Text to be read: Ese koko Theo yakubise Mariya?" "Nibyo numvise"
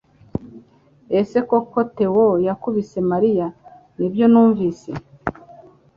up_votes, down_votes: 2, 0